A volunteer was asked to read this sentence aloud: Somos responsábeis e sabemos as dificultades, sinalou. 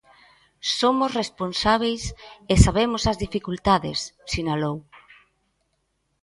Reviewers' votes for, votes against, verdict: 2, 0, accepted